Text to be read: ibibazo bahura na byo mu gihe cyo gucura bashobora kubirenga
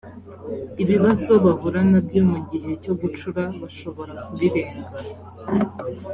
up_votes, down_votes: 3, 0